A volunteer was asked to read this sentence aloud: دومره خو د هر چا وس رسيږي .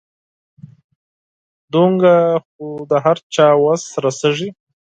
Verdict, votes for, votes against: rejected, 2, 4